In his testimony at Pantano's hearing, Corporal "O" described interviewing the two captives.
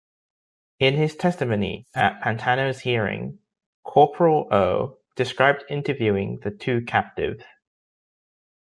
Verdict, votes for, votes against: rejected, 1, 2